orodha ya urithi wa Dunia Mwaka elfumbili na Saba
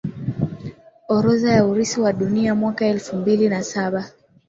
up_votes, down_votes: 2, 0